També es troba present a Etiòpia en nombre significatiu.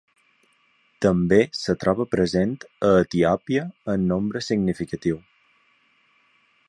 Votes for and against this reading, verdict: 2, 3, rejected